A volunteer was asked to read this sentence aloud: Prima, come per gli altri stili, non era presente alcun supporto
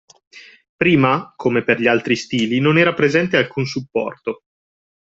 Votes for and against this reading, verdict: 2, 0, accepted